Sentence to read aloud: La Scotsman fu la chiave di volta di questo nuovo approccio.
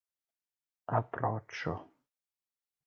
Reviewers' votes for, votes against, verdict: 0, 2, rejected